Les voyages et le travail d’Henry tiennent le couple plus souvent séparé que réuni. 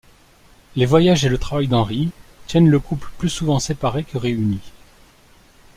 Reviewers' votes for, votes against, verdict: 2, 0, accepted